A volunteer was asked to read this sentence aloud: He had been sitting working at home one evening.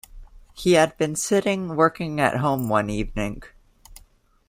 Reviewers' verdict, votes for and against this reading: accepted, 2, 1